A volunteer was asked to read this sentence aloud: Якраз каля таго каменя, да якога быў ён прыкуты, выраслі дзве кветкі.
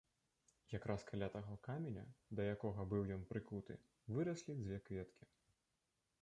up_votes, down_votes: 2, 0